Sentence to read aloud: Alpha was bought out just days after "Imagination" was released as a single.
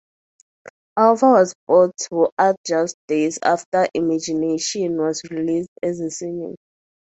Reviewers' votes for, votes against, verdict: 0, 4, rejected